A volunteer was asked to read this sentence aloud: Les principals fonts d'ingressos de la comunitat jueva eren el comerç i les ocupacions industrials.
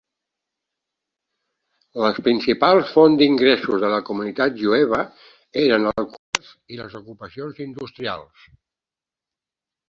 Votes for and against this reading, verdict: 0, 2, rejected